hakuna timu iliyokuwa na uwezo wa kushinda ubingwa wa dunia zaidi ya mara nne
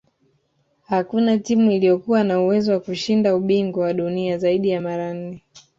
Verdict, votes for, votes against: accepted, 2, 0